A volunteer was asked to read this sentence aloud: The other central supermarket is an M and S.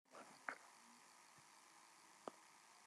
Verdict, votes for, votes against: rejected, 0, 2